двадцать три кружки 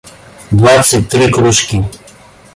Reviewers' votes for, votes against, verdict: 0, 2, rejected